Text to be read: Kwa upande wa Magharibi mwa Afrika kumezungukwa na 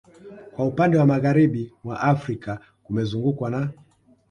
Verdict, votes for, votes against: accepted, 2, 1